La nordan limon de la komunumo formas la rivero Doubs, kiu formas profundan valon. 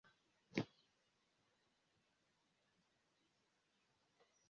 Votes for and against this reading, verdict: 1, 2, rejected